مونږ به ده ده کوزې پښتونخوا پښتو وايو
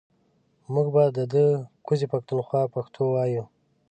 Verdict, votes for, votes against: accepted, 2, 0